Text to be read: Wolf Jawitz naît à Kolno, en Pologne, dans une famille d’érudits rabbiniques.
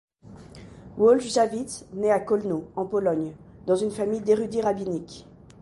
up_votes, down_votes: 2, 0